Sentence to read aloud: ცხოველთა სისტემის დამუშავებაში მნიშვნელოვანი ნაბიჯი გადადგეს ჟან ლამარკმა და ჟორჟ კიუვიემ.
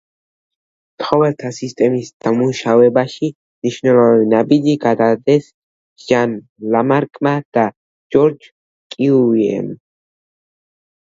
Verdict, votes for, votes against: rejected, 1, 2